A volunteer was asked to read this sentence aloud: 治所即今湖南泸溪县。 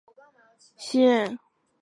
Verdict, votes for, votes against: rejected, 0, 5